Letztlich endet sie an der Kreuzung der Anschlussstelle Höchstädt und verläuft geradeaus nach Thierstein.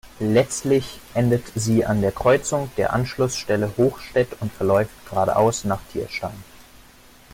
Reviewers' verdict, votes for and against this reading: rejected, 0, 2